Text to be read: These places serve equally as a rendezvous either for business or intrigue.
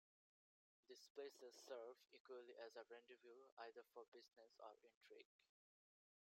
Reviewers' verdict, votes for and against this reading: rejected, 1, 2